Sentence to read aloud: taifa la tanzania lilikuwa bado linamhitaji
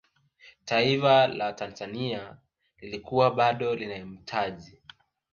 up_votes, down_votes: 2, 1